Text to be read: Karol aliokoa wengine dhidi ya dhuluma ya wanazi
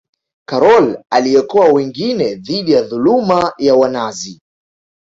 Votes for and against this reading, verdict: 2, 1, accepted